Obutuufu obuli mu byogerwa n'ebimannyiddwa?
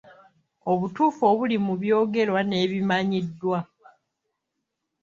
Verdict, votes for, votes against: accepted, 2, 1